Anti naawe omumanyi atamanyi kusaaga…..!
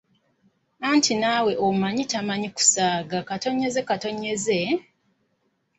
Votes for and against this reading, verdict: 2, 1, accepted